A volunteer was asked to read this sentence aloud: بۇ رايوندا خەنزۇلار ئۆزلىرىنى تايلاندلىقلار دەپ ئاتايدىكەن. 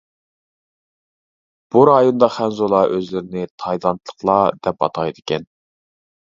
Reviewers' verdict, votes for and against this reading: accepted, 2, 1